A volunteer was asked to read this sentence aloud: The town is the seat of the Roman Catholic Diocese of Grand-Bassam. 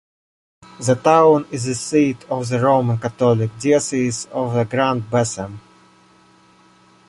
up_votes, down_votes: 2, 1